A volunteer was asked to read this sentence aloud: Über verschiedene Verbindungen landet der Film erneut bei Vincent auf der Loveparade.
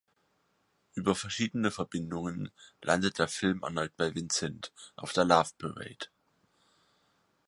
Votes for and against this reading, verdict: 4, 0, accepted